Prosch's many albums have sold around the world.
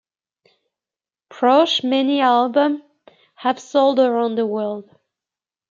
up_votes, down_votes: 1, 2